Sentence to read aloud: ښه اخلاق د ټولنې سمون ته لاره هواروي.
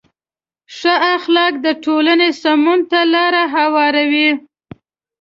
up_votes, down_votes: 2, 0